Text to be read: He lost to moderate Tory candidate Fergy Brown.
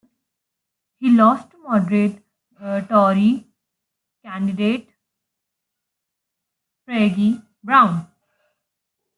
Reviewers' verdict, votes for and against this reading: rejected, 1, 2